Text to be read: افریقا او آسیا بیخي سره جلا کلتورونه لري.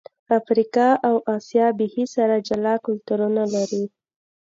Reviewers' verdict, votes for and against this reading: accepted, 2, 0